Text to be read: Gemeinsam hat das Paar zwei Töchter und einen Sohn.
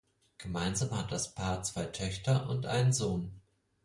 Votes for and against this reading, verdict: 4, 0, accepted